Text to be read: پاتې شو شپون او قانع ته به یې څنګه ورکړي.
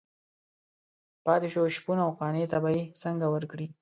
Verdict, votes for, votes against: accepted, 2, 1